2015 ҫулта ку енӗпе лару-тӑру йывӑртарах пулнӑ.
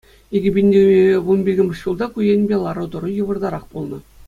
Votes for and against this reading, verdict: 0, 2, rejected